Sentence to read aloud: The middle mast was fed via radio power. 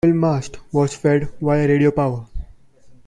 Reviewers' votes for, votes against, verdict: 0, 2, rejected